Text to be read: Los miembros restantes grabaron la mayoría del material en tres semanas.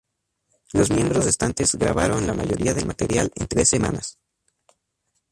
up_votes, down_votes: 2, 0